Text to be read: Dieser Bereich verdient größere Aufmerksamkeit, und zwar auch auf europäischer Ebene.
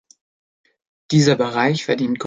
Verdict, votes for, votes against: rejected, 0, 2